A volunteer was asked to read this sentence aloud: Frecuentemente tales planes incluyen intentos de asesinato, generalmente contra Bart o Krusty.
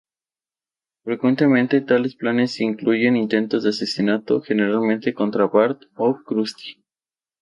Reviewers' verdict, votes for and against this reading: accepted, 2, 0